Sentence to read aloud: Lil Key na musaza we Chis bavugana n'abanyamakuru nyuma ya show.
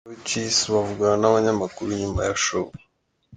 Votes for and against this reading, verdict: 2, 1, accepted